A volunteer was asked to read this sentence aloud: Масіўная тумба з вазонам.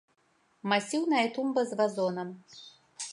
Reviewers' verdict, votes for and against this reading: accepted, 2, 0